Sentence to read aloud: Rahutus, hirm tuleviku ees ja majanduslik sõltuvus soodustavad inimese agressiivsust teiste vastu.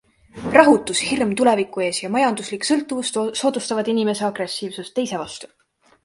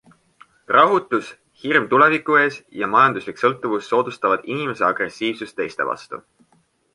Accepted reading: second